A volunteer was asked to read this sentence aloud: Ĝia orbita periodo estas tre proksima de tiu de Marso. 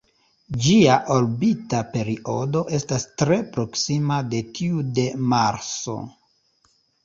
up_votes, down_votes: 2, 1